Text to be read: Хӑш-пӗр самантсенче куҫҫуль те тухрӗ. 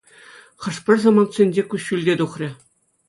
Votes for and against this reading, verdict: 2, 0, accepted